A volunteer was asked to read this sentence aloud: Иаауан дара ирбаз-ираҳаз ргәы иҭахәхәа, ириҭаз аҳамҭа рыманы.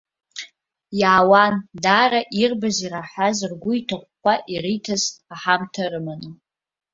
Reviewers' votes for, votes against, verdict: 2, 0, accepted